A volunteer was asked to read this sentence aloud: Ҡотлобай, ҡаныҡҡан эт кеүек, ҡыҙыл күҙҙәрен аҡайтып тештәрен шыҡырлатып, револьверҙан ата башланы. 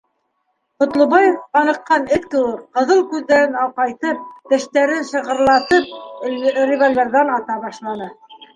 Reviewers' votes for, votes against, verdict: 1, 2, rejected